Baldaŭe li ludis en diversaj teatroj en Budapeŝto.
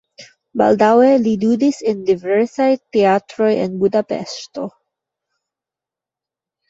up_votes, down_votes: 0, 2